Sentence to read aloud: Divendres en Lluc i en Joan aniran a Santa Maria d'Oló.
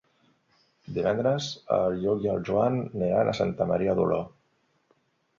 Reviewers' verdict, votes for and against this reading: rejected, 1, 2